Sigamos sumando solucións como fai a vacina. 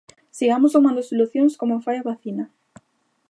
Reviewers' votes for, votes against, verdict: 2, 0, accepted